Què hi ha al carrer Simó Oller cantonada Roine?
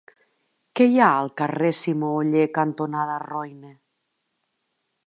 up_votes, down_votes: 3, 0